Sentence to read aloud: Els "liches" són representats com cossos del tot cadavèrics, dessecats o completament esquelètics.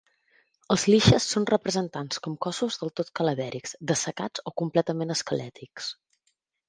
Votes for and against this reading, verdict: 2, 0, accepted